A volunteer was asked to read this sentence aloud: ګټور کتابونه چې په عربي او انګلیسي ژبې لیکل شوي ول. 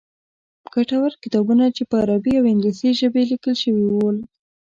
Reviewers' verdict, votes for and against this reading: accepted, 2, 0